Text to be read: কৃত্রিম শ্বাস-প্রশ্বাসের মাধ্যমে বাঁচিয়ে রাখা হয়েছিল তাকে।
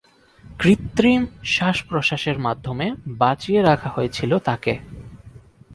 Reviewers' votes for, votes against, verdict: 4, 0, accepted